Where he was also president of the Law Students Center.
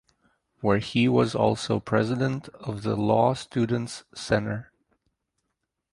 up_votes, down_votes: 2, 0